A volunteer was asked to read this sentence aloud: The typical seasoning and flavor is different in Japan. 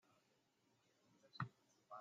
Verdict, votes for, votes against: rejected, 0, 2